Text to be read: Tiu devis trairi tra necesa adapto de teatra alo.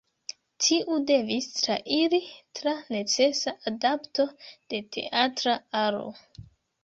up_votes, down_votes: 1, 2